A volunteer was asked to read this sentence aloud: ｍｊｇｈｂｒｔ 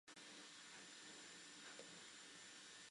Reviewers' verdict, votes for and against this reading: rejected, 0, 3